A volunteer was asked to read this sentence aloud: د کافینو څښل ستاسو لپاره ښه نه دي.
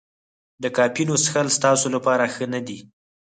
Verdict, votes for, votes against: rejected, 2, 4